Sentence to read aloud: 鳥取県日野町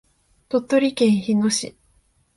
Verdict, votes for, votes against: rejected, 2, 3